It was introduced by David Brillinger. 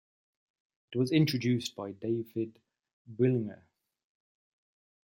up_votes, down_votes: 1, 3